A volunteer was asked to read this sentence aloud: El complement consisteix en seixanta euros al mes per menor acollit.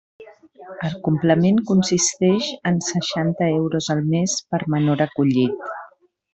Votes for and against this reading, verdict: 0, 2, rejected